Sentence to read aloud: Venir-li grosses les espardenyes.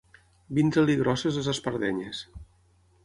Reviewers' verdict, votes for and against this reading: rejected, 0, 6